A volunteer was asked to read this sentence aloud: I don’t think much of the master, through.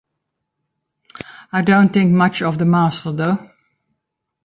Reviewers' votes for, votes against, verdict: 3, 0, accepted